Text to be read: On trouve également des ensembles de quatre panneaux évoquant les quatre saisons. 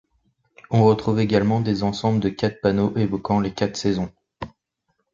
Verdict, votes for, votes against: rejected, 1, 2